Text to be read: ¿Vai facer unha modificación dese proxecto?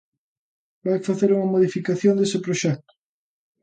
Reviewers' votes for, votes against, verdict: 2, 0, accepted